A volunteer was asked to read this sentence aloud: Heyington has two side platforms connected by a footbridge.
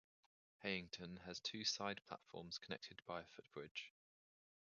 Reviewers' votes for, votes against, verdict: 0, 2, rejected